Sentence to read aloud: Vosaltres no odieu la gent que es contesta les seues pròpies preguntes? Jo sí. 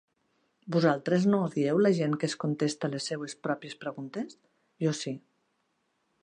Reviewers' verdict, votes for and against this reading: accepted, 2, 0